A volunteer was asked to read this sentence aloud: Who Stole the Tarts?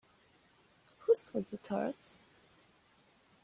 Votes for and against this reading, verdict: 1, 2, rejected